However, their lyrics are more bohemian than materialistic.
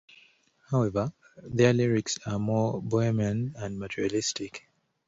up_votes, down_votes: 2, 1